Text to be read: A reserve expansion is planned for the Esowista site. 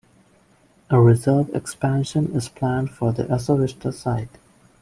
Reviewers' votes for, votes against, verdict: 2, 0, accepted